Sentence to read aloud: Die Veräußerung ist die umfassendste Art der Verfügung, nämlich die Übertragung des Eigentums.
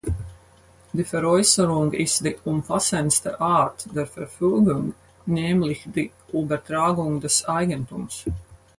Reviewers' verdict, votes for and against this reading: rejected, 0, 4